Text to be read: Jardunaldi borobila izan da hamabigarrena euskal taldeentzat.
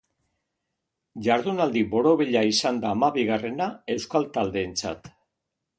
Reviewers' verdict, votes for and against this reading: accepted, 2, 1